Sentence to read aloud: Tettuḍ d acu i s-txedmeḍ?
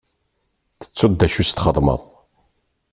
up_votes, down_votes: 2, 0